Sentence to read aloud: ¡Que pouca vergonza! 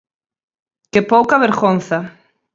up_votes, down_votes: 4, 0